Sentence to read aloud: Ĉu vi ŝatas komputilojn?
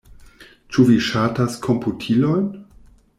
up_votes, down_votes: 2, 0